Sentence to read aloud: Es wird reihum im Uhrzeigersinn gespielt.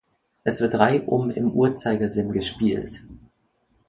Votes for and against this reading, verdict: 2, 0, accepted